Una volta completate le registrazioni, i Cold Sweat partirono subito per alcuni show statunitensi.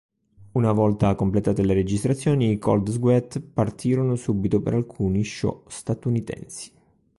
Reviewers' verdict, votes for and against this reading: rejected, 2, 3